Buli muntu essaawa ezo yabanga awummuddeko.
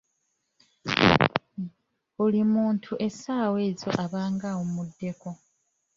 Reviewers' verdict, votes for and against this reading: rejected, 0, 2